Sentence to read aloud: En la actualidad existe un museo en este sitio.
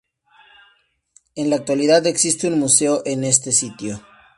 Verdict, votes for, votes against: rejected, 2, 2